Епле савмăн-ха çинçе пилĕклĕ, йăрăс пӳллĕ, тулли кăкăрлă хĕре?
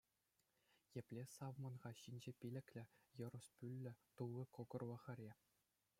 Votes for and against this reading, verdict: 1, 2, rejected